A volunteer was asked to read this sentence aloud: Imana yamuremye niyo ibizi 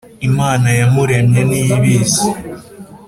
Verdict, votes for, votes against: accepted, 3, 0